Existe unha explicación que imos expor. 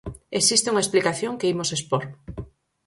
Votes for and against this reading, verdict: 4, 0, accepted